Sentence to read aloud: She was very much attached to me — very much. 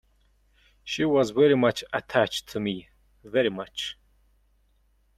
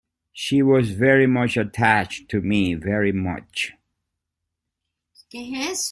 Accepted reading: first